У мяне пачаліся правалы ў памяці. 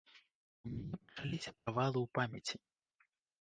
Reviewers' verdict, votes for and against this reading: rejected, 0, 2